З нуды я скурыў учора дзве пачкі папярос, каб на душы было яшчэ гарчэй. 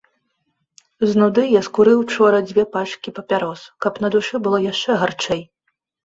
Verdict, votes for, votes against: accepted, 2, 0